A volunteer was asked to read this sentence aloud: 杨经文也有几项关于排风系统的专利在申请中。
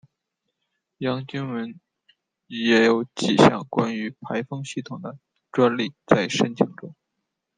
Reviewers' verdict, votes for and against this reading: accepted, 2, 1